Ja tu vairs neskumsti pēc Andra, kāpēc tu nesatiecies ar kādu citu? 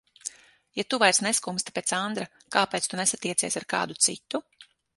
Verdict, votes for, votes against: accepted, 6, 0